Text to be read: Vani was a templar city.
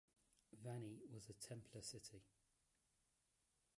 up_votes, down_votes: 2, 1